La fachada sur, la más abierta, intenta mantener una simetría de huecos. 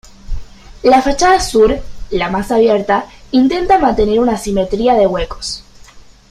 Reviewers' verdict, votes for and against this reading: accepted, 2, 0